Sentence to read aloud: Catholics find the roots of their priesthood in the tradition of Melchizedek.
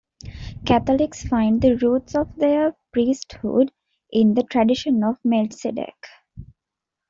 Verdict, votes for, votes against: rejected, 1, 2